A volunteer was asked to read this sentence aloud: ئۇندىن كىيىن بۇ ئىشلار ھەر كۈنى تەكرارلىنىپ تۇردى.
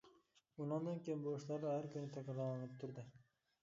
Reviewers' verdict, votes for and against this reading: rejected, 0, 2